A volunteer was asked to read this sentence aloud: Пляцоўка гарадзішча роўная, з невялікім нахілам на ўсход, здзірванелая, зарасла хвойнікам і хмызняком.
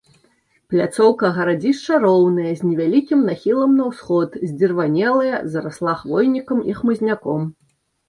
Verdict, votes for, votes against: accepted, 2, 1